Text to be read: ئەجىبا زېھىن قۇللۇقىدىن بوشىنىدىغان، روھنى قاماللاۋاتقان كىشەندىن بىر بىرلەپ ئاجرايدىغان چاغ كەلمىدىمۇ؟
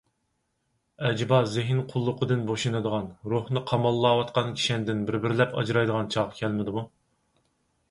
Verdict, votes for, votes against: accepted, 4, 0